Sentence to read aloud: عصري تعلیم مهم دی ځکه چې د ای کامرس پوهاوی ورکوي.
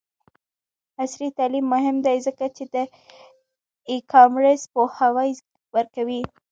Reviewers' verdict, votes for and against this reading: accepted, 2, 1